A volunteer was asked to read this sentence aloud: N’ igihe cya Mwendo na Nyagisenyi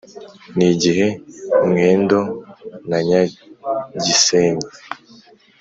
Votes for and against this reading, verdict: 2, 1, accepted